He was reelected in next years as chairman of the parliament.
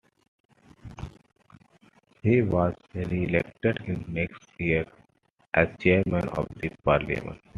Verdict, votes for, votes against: accepted, 2, 1